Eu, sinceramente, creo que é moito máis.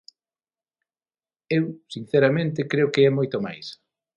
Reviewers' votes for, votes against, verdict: 6, 0, accepted